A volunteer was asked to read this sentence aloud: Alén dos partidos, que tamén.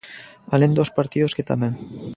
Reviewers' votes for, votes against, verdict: 2, 0, accepted